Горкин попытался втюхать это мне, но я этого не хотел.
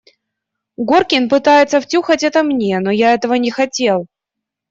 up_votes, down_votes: 1, 2